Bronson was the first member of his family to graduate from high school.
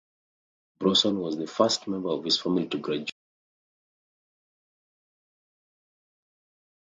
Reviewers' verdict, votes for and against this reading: rejected, 0, 2